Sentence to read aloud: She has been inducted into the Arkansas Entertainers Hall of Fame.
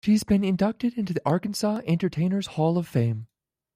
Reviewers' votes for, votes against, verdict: 3, 1, accepted